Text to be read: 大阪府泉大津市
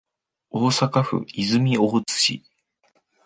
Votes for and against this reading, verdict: 2, 0, accepted